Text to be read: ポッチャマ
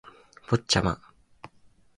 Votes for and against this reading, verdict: 4, 0, accepted